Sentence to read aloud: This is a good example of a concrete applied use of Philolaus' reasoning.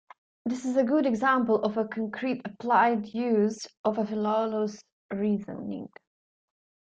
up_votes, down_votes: 2, 0